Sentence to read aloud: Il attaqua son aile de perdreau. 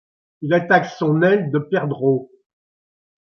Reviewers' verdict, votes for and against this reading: rejected, 0, 2